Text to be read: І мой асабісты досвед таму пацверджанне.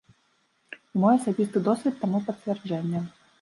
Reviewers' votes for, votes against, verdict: 1, 2, rejected